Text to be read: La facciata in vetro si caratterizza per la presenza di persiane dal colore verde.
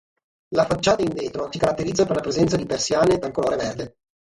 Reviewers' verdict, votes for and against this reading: accepted, 3, 0